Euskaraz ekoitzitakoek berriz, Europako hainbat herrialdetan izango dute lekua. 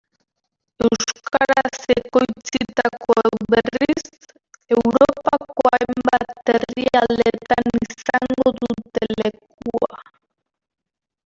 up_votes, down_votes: 0, 2